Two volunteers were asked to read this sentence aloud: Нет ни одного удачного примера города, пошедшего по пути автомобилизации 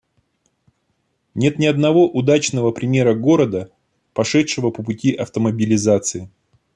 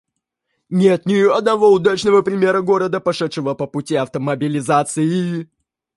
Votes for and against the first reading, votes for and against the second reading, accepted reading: 2, 0, 0, 2, first